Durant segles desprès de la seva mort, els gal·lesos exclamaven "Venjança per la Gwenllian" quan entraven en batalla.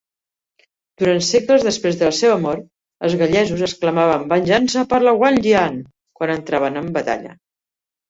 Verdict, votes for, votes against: rejected, 0, 2